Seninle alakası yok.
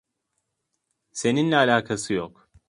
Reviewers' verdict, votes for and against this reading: accepted, 2, 0